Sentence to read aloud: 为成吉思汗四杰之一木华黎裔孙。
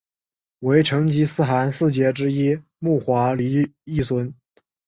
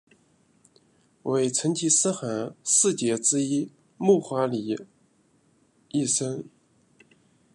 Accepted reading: first